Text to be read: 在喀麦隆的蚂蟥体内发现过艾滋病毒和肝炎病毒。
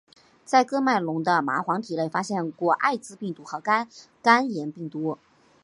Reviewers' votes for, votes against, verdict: 3, 0, accepted